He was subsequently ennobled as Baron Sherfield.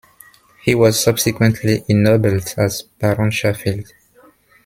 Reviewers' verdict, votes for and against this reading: rejected, 1, 2